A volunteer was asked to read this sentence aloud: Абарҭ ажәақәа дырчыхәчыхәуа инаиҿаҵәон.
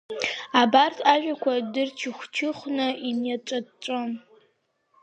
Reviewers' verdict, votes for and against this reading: rejected, 3, 4